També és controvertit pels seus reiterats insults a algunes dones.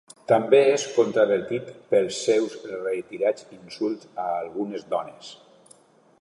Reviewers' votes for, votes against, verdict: 1, 2, rejected